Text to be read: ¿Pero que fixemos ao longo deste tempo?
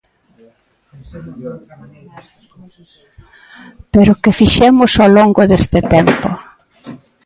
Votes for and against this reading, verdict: 2, 1, accepted